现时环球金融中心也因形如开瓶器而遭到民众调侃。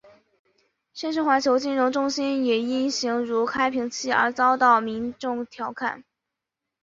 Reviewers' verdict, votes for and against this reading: accepted, 2, 0